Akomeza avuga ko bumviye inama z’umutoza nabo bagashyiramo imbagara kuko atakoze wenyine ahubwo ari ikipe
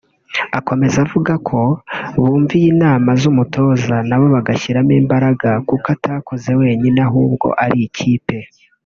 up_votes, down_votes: 1, 2